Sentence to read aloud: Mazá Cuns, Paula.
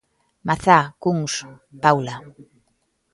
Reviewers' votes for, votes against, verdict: 2, 0, accepted